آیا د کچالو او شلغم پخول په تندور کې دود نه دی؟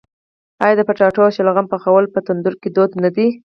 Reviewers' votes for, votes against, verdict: 4, 0, accepted